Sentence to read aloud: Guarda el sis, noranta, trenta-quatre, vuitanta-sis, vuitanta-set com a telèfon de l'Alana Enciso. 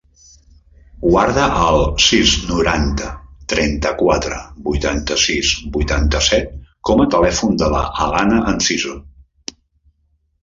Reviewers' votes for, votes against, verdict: 0, 2, rejected